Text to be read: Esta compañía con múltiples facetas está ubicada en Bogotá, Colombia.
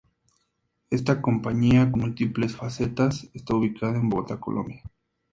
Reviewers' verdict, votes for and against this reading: accepted, 2, 0